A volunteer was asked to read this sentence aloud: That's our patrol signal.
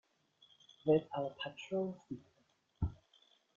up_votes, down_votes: 1, 2